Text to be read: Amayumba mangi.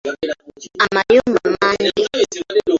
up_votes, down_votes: 2, 0